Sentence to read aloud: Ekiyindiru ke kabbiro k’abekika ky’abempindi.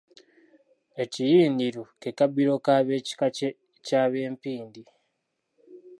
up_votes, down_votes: 1, 2